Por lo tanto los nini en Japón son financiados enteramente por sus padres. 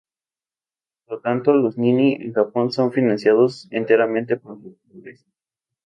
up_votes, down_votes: 0, 2